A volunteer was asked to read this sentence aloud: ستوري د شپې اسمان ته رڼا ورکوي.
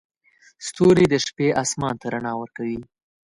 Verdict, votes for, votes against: accepted, 2, 0